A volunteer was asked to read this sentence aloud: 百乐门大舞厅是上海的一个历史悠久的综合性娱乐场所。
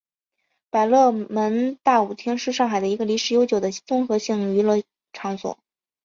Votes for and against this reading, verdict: 2, 0, accepted